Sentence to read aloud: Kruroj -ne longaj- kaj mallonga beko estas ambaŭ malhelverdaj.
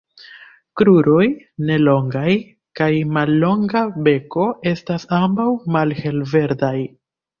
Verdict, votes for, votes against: accepted, 2, 0